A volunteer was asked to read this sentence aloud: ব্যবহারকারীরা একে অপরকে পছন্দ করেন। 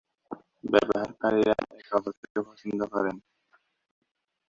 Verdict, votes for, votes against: rejected, 0, 2